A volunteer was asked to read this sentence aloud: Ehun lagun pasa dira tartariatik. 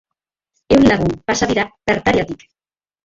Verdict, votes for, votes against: rejected, 1, 2